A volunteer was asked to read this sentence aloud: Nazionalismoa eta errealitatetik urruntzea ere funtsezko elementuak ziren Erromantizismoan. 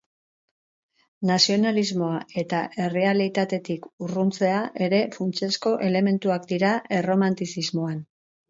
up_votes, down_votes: 0, 4